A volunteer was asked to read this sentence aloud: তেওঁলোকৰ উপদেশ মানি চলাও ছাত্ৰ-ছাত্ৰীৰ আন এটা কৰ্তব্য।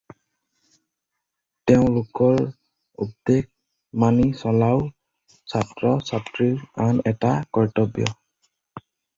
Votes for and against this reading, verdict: 2, 2, rejected